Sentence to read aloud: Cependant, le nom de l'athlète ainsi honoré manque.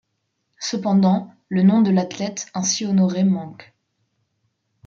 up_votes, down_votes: 2, 0